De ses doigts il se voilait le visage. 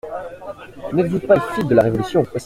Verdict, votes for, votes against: rejected, 0, 2